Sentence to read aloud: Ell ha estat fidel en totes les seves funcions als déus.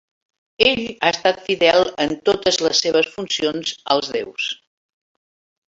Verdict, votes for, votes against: rejected, 1, 2